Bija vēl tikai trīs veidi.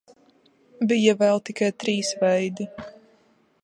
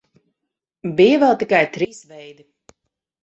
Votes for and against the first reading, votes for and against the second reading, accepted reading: 3, 0, 0, 4, first